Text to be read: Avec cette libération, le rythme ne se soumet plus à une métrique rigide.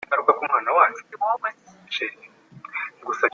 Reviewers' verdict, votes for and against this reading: rejected, 0, 2